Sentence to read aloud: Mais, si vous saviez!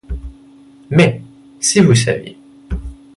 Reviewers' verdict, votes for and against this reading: accepted, 2, 0